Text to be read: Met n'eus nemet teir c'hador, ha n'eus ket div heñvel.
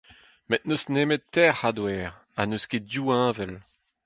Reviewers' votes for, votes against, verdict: 4, 0, accepted